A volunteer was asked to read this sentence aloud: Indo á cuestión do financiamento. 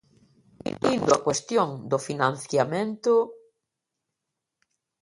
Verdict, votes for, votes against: rejected, 0, 2